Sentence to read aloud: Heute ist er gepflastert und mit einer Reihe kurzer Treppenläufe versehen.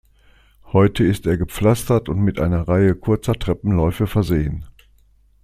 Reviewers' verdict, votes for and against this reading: accepted, 2, 0